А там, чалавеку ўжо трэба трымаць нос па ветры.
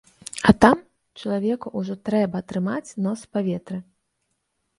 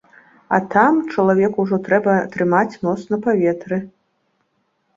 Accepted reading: first